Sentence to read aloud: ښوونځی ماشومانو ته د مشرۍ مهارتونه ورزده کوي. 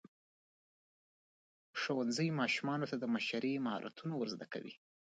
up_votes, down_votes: 3, 2